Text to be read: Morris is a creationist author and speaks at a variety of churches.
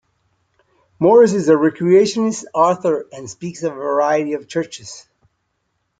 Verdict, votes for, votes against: rejected, 1, 2